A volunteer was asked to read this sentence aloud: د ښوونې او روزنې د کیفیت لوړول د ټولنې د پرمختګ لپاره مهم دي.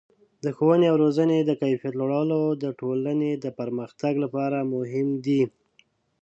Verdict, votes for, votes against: rejected, 1, 2